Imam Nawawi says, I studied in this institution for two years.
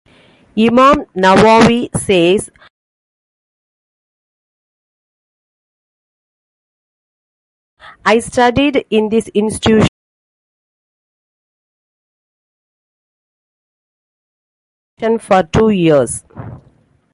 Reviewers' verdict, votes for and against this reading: rejected, 1, 2